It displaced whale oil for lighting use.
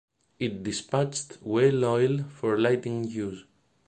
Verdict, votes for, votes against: rejected, 1, 2